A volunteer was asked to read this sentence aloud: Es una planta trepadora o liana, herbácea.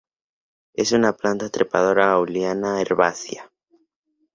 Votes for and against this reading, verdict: 6, 2, accepted